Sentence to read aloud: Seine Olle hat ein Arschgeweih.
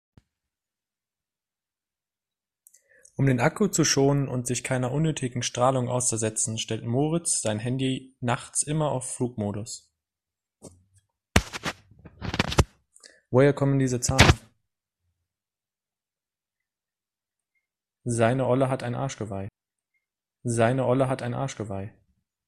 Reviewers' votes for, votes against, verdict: 0, 3, rejected